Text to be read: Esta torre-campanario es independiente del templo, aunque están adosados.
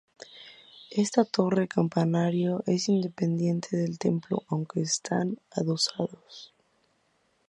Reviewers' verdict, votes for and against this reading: rejected, 0, 2